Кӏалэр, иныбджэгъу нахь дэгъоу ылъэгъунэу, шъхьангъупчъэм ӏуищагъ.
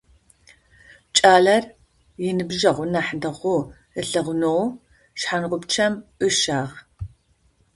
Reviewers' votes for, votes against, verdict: 0, 2, rejected